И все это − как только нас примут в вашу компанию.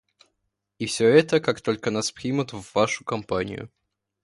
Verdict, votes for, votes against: accepted, 2, 1